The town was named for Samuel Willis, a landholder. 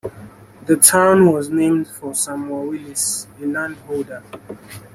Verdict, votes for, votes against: accepted, 2, 0